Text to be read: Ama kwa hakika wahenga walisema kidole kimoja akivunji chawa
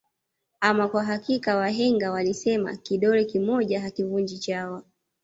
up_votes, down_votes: 2, 0